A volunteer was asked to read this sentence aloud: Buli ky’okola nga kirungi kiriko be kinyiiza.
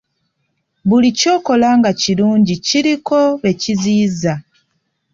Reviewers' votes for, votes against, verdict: 1, 2, rejected